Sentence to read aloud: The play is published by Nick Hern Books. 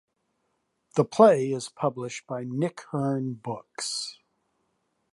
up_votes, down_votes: 2, 0